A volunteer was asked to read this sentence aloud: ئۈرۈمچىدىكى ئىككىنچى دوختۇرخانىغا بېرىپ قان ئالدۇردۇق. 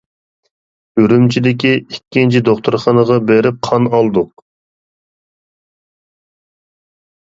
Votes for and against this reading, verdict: 0, 2, rejected